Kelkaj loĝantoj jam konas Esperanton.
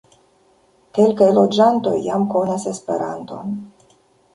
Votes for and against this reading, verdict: 1, 2, rejected